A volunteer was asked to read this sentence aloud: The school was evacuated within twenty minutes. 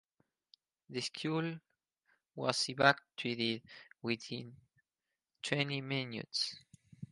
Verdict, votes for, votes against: accepted, 2, 0